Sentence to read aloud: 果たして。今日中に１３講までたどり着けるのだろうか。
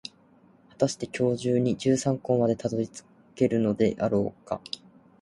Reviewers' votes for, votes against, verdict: 0, 2, rejected